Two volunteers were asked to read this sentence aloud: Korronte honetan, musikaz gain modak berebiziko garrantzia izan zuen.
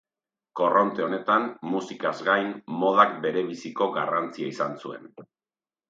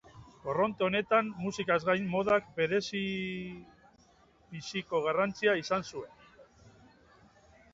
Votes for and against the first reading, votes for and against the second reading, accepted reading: 4, 0, 0, 2, first